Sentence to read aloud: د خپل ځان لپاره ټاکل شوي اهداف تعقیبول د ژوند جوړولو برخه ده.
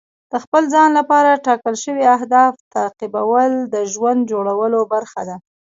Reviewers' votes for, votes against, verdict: 1, 2, rejected